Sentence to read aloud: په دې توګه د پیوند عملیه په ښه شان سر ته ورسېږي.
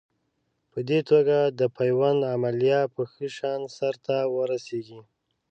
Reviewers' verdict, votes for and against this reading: accepted, 2, 0